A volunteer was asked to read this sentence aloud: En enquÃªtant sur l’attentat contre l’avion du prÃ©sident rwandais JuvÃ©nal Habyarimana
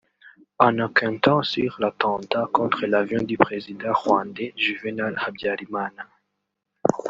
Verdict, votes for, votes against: rejected, 0, 2